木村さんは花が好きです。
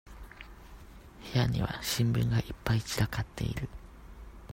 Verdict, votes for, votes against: rejected, 0, 2